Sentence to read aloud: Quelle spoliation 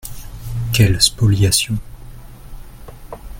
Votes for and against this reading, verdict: 2, 0, accepted